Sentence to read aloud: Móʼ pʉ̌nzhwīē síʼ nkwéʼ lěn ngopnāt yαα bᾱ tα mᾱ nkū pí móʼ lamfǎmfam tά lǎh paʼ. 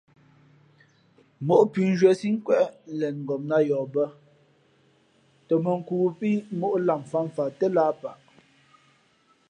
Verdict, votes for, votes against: accepted, 2, 0